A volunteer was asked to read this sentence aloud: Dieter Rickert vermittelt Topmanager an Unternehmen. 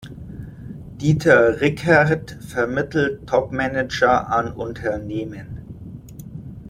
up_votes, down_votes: 2, 0